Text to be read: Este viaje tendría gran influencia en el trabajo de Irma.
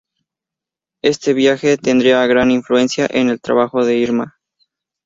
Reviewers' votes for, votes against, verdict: 4, 0, accepted